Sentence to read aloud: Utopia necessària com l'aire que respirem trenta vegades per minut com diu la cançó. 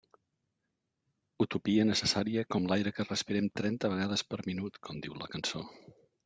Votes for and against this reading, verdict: 3, 0, accepted